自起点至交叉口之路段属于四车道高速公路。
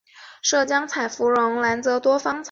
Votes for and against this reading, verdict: 1, 3, rejected